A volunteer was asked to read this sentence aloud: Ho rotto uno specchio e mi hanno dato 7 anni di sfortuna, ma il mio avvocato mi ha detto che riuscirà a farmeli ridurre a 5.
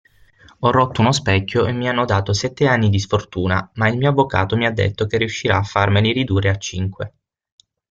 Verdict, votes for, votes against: rejected, 0, 2